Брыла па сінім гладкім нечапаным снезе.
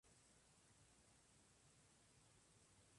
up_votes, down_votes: 0, 2